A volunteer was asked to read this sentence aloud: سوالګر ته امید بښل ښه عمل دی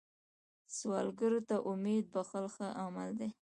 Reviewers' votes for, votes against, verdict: 2, 0, accepted